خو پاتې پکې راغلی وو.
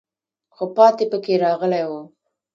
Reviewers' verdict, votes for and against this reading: rejected, 1, 2